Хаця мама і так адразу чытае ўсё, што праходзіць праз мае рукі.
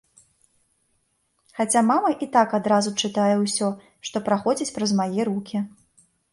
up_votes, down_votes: 2, 0